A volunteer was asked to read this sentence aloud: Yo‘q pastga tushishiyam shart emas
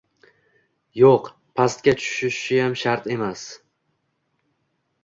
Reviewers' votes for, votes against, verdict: 2, 0, accepted